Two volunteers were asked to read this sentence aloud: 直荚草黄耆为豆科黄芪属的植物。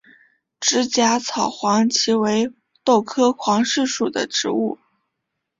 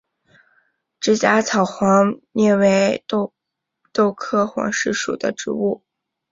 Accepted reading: first